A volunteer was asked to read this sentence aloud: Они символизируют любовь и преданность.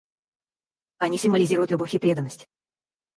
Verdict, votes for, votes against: rejected, 2, 2